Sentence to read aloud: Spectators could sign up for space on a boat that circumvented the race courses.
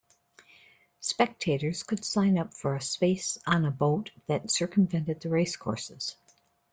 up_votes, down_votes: 2, 0